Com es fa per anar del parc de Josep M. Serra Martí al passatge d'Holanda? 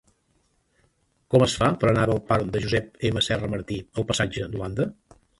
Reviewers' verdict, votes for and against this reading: accepted, 2, 1